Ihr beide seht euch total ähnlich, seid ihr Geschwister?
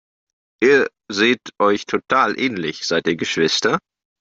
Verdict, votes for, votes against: rejected, 0, 2